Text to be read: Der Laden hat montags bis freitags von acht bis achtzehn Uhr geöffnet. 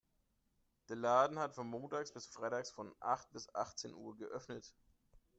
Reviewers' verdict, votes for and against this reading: rejected, 1, 2